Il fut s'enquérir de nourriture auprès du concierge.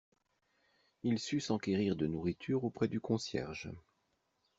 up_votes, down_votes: 0, 2